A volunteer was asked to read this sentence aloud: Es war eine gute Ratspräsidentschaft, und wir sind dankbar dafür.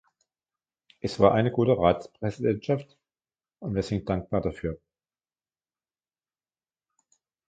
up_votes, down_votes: 2, 1